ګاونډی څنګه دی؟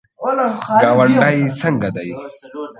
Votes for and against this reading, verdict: 1, 2, rejected